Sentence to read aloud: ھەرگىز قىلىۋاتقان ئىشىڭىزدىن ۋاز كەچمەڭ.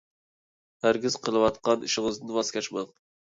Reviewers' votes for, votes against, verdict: 1, 2, rejected